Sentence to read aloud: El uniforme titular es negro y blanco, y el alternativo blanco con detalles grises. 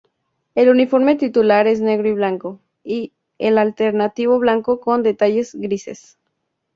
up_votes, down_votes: 2, 0